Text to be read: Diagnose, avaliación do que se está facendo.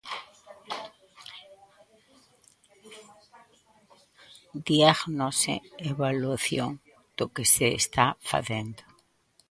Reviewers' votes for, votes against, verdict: 0, 2, rejected